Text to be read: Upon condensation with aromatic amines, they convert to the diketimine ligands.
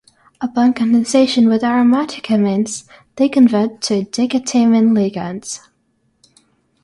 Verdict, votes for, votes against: rejected, 3, 6